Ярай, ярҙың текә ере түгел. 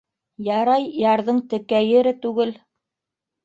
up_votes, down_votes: 1, 2